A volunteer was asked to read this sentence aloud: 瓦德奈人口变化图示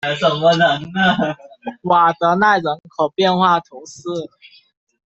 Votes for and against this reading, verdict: 0, 2, rejected